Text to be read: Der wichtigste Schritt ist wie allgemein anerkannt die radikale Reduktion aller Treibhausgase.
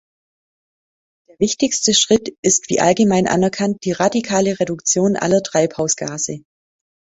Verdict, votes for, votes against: rejected, 1, 2